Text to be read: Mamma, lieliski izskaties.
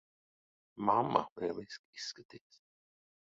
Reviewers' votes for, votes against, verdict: 0, 2, rejected